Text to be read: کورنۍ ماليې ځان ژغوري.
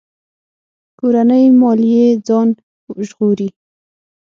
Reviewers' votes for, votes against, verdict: 6, 0, accepted